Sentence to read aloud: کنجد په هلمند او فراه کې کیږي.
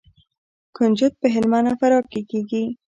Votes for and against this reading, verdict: 2, 0, accepted